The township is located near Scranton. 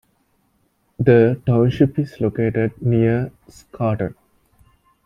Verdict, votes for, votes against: rejected, 0, 2